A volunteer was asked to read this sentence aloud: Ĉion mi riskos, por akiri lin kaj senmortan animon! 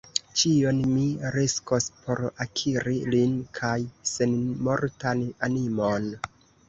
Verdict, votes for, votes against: rejected, 1, 2